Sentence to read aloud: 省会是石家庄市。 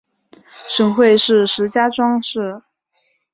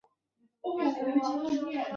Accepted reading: first